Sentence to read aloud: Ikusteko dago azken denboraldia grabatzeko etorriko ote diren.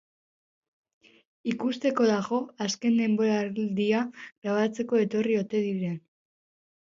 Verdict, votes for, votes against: rejected, 0, 2